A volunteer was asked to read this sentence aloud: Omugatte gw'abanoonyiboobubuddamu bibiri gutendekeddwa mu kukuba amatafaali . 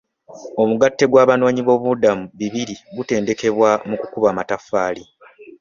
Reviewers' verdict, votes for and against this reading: rejected, 0, 2